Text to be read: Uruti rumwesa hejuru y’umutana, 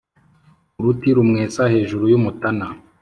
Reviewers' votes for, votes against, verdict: 2, 0, accepted